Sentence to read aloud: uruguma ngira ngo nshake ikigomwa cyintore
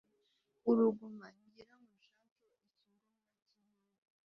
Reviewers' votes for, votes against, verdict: 1, 2, rejected